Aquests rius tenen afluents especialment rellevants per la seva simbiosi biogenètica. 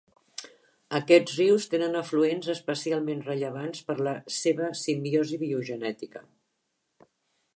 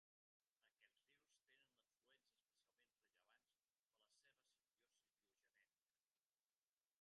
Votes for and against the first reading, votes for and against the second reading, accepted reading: 3, 0, 0, 2, first